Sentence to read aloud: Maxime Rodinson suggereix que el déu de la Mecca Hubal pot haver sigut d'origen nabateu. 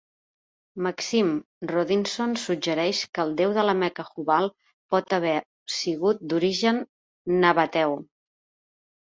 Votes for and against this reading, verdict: 2, 0, accepted